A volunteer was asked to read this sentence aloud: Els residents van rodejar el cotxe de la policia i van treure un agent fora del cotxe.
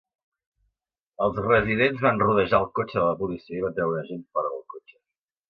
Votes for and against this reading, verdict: 2, 0, accepted